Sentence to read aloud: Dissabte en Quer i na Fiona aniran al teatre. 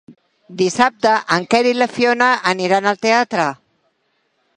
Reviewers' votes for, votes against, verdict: 3, 1, accepted